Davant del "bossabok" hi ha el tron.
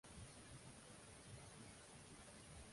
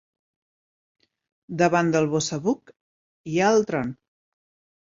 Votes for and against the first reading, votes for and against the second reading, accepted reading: 0, 2, 2, 0, second